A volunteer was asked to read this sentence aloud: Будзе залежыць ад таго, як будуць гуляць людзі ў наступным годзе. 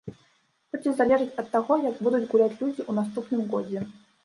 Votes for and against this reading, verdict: 0, 2, rejected